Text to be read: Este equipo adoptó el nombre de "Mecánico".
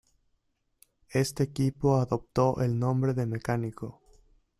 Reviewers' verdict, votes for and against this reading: accepted, 2, 0